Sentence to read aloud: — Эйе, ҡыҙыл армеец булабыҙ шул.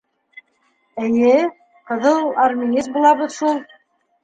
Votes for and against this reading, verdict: 2, 1, accepted